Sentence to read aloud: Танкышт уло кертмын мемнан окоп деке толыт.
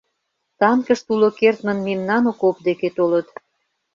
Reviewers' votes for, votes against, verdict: 2, 0, accepted